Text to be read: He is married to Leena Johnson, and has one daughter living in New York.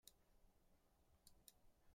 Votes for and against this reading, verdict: 0, 2, rejected